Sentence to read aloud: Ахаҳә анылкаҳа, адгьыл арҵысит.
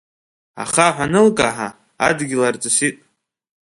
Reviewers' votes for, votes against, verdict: 2, 0, accepted